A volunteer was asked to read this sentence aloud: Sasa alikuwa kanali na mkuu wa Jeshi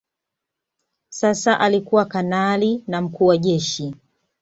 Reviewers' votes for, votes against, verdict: 2, 0, accepted